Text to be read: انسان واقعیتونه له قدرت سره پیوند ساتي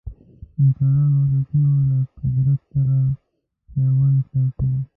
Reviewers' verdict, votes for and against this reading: rejected, 0, 2